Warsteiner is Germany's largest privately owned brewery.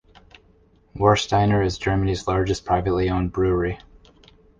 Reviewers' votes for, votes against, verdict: 2, 0, accepted